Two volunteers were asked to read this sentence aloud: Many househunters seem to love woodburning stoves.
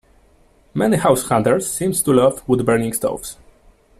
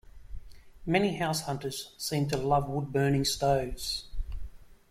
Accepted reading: second